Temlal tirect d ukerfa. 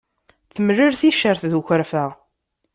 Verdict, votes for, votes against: rejected, 1, 2